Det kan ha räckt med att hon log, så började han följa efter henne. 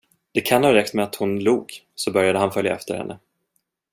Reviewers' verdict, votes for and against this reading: accepted, 2, 0